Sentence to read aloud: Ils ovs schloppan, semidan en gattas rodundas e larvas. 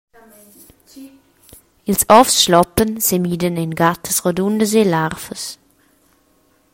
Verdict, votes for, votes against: accepted, 2, 0